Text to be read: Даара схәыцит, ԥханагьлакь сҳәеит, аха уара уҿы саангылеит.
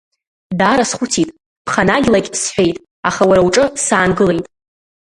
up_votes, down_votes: 2, 1